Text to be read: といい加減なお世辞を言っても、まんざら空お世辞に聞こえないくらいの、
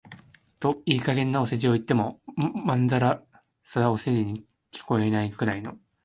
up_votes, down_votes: 0, 2